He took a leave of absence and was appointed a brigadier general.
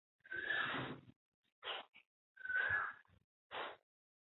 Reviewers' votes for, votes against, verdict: 0, 2, rejected